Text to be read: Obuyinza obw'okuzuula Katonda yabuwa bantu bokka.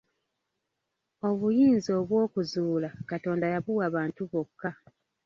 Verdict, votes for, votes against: accepted, 2, 1